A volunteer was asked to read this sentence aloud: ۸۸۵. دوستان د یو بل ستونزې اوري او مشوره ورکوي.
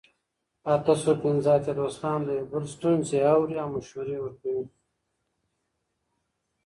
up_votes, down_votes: 0, 2